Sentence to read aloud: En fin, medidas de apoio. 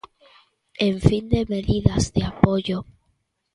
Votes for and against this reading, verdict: 0, 2, rejected